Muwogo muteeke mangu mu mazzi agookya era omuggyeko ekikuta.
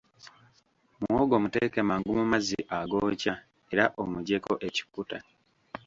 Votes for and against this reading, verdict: 0, 2, rejected